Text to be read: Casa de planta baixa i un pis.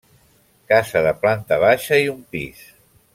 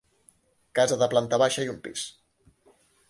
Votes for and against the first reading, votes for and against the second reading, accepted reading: 1, 2, 2, 1, second